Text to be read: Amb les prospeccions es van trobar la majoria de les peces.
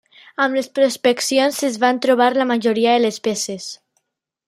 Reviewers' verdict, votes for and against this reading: accepted, 2, 0